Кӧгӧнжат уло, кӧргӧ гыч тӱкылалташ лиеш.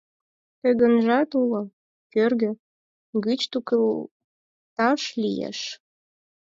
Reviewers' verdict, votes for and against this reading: accepted, 4, 2